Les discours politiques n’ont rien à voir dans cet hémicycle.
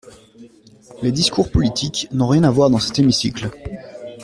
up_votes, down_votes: 2, 0